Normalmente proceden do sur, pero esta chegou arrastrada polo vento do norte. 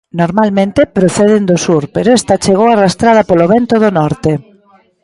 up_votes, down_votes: 3, 0